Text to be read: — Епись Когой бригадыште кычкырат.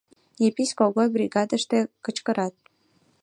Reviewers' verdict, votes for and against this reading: accepted, 2, 0